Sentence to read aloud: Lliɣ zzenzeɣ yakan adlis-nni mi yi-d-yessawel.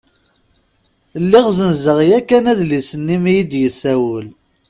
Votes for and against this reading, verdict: 2, 0, accepted